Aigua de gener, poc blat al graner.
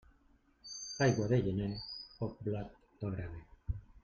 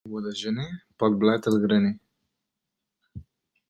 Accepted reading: first